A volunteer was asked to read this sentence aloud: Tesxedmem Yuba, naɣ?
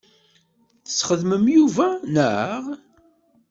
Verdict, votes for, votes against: accepted, 2, 0